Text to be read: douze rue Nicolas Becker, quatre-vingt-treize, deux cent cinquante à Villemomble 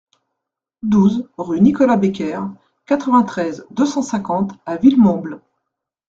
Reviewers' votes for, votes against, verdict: 2, 0, accepted